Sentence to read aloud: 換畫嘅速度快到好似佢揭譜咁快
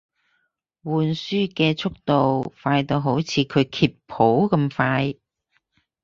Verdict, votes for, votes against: rejected, 0, 4